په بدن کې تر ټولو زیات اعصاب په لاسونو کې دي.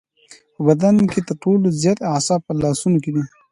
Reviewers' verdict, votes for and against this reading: accepted, 2, 0